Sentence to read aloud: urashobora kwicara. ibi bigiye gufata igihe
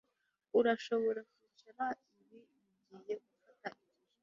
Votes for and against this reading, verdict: 1, 2, rejected